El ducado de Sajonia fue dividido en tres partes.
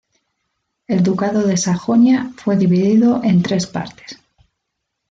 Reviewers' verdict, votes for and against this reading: accepted, 2, 0